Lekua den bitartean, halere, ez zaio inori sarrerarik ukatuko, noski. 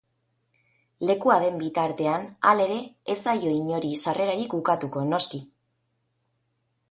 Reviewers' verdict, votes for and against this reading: accepted, 10, 0